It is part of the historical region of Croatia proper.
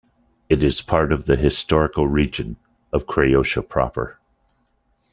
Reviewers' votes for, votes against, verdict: 0, 2, rejected